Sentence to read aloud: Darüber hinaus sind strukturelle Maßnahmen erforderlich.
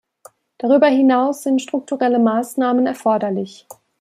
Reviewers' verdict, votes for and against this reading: accepted, 2, 0